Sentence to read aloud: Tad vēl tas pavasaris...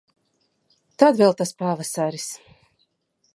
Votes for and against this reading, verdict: 2, 0, accepted